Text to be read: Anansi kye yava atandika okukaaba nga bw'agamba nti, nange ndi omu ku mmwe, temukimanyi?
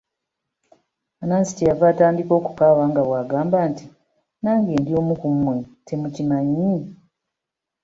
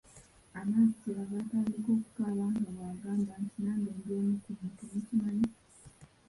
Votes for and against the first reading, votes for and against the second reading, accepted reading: 2, 0, 0, 2, first